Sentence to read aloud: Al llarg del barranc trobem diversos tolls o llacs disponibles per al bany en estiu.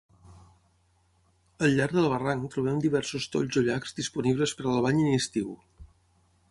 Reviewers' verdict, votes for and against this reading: accepted, 6, 0